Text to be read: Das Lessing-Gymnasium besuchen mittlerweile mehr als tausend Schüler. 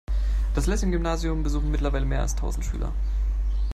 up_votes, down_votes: 3, 0